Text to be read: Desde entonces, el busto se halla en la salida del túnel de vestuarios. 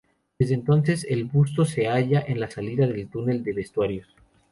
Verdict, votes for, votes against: rejected, 0, 2